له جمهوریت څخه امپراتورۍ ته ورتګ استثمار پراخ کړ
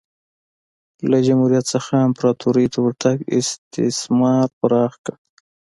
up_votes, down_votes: 2, 0